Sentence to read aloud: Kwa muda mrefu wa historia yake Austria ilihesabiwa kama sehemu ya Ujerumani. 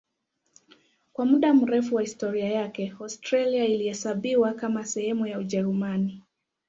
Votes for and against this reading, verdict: 2, 1, accepted